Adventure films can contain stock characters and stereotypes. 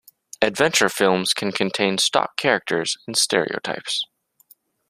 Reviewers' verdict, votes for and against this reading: accepted, 2, 0